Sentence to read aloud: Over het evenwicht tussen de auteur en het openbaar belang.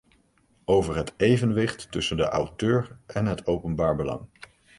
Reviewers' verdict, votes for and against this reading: accepted, 2, 0